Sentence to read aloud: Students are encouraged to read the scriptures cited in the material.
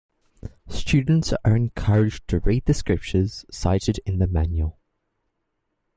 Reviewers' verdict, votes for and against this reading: rejected, 0, 2